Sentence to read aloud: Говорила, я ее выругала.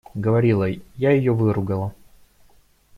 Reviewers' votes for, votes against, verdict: 1, 2, rejected